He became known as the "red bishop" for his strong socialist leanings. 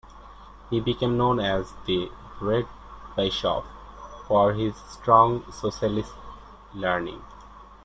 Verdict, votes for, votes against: rejected, 0, 2